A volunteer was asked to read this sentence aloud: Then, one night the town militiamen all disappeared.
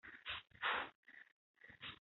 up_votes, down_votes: 0, 2